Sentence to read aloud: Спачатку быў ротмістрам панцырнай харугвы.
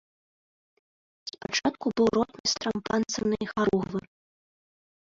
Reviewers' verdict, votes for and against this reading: rejected, 0, 2